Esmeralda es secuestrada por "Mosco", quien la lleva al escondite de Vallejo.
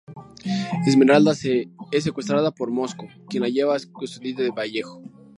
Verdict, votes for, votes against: rejected, 0, 2